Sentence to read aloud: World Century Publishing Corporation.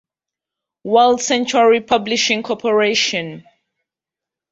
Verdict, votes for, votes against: accepted, 2, 0